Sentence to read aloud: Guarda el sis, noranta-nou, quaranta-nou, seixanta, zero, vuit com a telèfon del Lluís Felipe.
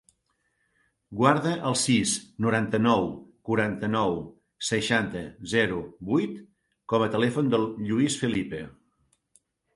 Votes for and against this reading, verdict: 3, 0, accepted